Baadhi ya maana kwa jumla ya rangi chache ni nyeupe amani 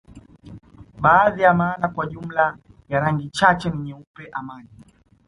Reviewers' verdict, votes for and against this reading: accepted, 2, 0